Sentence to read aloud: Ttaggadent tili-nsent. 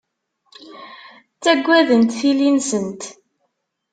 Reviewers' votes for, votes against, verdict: 2, 0, accepted